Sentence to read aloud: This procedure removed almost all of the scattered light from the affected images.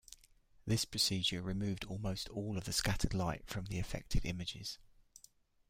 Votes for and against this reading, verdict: 2, 0, accepted